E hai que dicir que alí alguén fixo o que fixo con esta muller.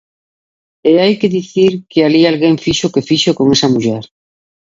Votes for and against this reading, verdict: 3, 2, accepted